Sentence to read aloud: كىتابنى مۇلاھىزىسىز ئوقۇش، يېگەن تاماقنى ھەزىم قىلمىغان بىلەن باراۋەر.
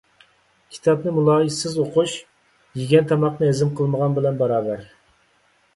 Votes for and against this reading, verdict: 2, 0, accepted